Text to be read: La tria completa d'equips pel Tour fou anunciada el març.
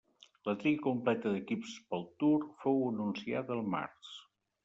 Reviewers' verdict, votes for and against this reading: accepted, 2, 0